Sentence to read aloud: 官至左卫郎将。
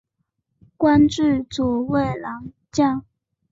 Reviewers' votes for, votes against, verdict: 2, 0, accepted